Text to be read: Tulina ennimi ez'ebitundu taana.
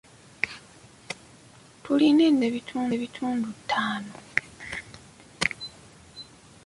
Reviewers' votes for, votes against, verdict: 0, 2, rejected